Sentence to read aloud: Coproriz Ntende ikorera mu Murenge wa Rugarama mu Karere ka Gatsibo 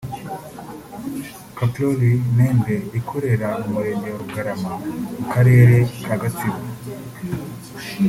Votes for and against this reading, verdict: 2, 1, accepted